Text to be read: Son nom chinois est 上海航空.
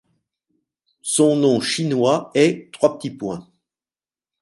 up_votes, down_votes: 0, 2